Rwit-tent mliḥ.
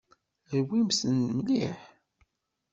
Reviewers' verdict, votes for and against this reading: rejected, 1, 2